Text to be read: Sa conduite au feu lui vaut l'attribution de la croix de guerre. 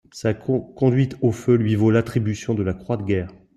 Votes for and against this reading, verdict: 0, 2, rejected